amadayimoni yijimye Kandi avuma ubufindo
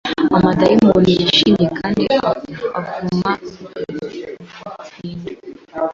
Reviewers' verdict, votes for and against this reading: rejected, 0, 2